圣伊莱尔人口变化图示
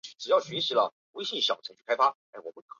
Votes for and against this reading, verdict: 2, 3, rejected